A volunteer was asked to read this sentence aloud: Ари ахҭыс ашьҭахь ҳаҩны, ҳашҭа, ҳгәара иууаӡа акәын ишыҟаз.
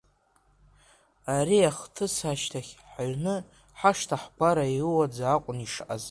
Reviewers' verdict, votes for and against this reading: rejected, 0, 2